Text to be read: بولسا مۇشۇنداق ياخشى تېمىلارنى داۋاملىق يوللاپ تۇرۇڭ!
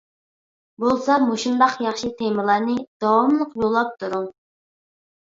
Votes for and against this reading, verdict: 2, 0, accepted